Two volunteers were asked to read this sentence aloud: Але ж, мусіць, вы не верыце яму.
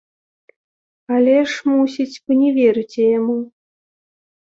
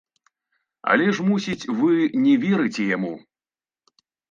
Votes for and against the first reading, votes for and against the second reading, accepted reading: 2, 0, 1, 2, first